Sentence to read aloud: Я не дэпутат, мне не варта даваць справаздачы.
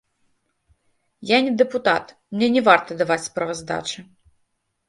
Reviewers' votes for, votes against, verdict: 2, 0, accepted